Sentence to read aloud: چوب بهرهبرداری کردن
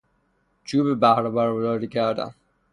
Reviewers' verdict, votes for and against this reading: accepted, 3, 0